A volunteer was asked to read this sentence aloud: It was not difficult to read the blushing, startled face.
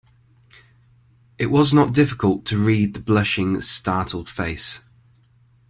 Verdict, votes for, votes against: accepted, 2, 0